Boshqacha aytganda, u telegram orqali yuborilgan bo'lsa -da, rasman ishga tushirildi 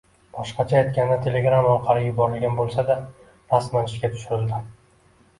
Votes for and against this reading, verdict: 2, 1, accepted